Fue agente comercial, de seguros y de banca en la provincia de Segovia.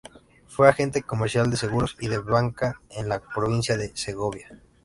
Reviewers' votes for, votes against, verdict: 2, 0, accepted